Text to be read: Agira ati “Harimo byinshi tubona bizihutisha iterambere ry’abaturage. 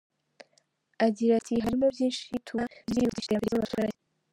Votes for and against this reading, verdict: 0, 2, rejected